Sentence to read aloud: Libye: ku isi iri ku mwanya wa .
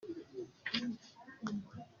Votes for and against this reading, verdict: 0, 2, rejected